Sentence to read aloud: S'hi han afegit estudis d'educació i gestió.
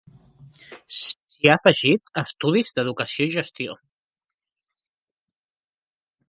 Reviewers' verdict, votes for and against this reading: rejected, 0, 2